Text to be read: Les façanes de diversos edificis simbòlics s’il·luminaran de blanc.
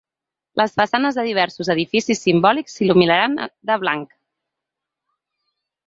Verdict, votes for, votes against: accepted, 3, 1